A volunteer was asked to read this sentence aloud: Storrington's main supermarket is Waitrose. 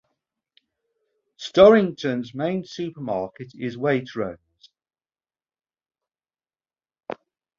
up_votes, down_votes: 2, 0